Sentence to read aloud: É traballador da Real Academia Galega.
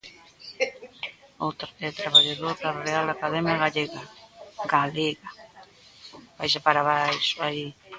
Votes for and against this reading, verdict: 1, 2, rejected